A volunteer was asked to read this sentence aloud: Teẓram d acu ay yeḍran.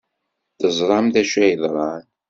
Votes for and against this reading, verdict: 2, 0, accepted